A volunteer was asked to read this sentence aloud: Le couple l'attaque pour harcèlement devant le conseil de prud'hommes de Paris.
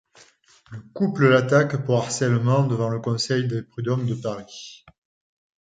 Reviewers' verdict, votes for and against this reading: rejected, 1, 2